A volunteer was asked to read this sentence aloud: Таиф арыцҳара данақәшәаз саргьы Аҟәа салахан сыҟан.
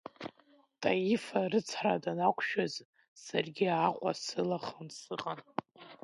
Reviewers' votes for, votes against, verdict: 2, 1, accepted